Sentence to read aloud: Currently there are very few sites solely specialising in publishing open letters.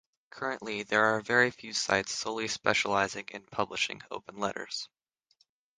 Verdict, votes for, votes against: accepted, 6, 0